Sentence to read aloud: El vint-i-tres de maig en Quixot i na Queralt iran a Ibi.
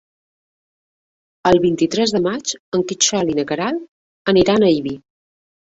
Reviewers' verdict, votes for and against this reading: rejected, 0, 2